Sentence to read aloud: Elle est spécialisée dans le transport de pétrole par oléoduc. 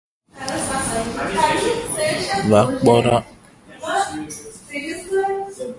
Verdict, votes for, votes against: rejected, 0, 2